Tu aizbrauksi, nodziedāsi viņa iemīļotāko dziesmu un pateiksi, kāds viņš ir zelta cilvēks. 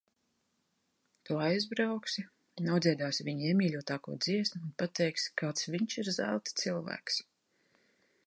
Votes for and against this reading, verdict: 3, 0, accepted